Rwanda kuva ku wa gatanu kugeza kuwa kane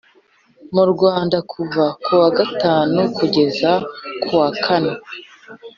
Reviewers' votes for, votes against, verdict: 1, 2, rejected